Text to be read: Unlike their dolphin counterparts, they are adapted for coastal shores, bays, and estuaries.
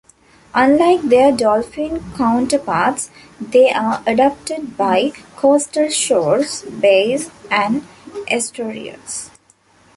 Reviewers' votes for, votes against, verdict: 1, 2, rejected